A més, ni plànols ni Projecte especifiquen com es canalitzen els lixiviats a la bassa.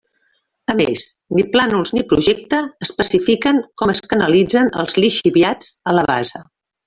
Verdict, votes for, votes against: accepted, 2, 0